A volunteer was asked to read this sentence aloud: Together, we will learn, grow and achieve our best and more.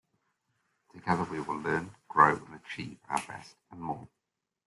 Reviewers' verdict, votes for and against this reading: accepted, 2, 0